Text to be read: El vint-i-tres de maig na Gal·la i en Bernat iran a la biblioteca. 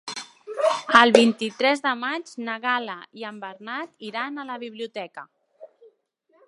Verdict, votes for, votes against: accepted, 4, 1